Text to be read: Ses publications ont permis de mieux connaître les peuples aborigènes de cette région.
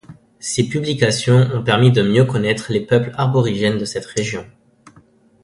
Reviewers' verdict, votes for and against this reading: accepted, 2, 1